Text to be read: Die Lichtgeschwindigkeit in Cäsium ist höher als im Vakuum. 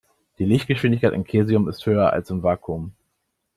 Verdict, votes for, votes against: rejected, 0, 2